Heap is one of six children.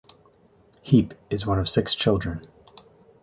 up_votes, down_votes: 2, 0